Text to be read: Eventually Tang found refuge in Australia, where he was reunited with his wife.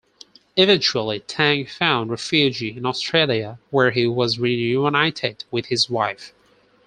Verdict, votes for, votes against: rejected, 2, 4